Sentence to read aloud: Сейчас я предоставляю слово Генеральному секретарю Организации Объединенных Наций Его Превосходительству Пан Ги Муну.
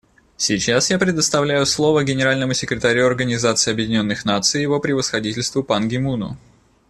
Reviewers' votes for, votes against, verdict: 2, 0, accepted